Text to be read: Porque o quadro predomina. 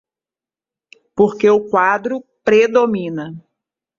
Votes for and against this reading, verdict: 2, 0, accepted